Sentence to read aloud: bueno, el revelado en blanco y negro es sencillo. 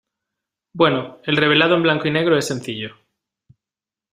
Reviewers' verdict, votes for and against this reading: accepted, 2, 0